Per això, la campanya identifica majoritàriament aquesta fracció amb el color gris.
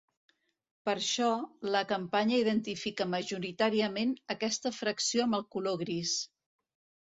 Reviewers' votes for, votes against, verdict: 2, 0, accepted